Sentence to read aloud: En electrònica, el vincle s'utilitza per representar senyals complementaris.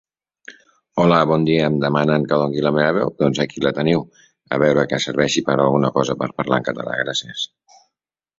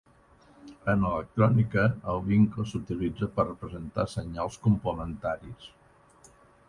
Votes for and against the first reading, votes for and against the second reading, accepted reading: 0, 3, 4, 0, second